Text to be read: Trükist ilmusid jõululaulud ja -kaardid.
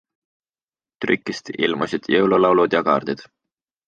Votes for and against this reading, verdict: 2, 0, accepted